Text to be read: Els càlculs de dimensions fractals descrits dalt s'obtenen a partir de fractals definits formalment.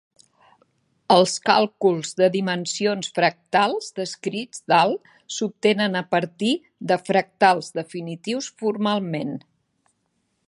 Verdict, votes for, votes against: rejected, 0, 2